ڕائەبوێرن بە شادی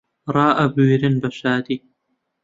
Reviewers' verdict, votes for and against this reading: accepted, 2, 0